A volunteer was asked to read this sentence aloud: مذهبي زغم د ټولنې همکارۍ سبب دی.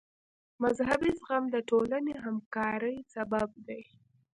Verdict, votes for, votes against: rejected, 1, 2